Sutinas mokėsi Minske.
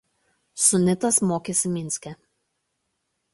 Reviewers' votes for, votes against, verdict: 1, 2, rejected